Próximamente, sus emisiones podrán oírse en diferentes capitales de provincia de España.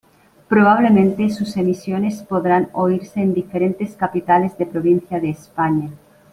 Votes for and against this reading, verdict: 0, 2, rejected